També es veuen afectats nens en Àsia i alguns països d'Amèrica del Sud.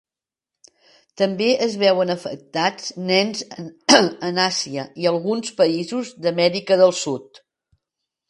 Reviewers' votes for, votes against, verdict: 1, 2, rejected